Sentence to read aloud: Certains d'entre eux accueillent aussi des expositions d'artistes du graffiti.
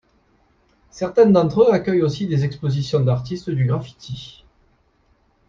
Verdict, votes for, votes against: accepted, 2, 0